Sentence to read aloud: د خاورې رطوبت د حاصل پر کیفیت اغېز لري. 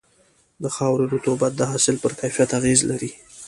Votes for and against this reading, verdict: 2, 0, accepted